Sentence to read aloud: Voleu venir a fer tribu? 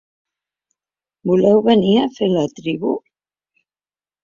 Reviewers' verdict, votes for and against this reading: rejected, 1, 2